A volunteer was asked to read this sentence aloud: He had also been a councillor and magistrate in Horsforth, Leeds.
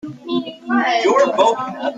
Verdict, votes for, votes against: rejected, 0, 2